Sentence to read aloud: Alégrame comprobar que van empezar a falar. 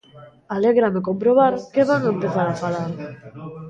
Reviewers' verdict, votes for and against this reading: rejected, 1, 2